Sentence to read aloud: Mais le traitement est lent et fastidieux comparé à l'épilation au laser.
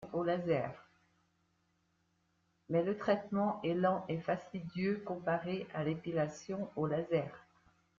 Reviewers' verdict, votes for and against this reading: rejected, 0, 2